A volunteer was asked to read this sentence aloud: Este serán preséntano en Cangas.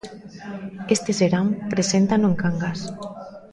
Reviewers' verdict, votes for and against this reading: rejected, 1, 2